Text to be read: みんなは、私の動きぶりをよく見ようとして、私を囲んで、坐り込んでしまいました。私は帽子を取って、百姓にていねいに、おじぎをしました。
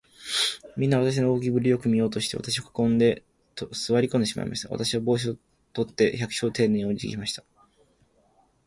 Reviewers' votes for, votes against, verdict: 1, 3, rejected